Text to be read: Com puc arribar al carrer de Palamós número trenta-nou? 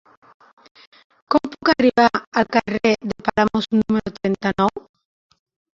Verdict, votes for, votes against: rejected, 0, 2